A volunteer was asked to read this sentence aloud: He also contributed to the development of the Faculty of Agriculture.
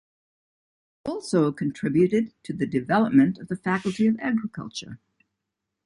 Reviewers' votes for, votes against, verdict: 1, 2, rejected